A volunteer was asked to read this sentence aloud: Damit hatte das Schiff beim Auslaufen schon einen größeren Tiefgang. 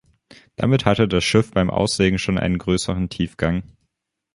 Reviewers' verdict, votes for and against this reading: rejected, 0, 2